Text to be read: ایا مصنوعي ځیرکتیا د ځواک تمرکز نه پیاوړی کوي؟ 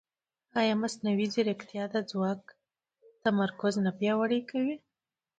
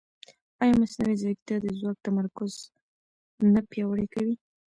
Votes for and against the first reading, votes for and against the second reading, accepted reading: 2, 0, 1, 2, first